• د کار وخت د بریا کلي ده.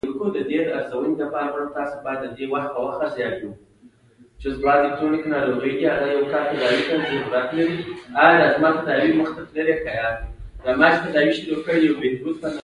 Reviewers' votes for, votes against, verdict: 2, 1, accepted